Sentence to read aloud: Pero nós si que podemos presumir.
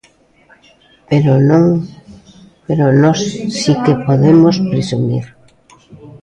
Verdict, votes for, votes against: rejected, 0, 2